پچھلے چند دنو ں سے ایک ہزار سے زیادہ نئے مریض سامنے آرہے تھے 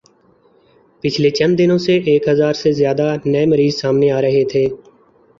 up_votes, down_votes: 4, 0